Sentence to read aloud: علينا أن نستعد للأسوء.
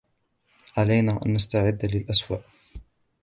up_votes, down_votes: 2, 0